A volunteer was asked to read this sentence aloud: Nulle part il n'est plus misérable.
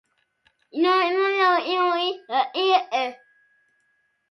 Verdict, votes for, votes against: rejected, 0, 2